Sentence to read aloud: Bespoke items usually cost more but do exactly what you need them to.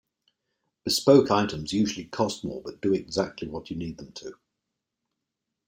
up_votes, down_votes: 2, 0